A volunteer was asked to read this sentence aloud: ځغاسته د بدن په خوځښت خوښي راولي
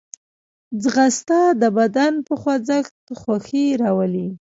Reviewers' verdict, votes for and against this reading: rejected, 1, 2